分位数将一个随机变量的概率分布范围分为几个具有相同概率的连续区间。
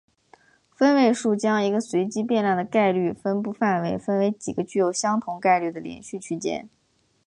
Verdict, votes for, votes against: accepted, 3, 0